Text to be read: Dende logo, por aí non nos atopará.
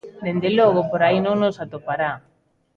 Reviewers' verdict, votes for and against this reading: accepted, 2, 0